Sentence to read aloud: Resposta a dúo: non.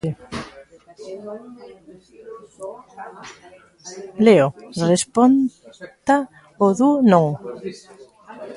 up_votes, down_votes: 0, 2